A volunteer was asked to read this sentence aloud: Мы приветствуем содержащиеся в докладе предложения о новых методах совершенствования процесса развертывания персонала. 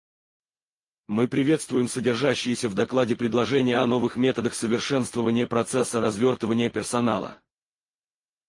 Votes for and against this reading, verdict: 2, 4, rejected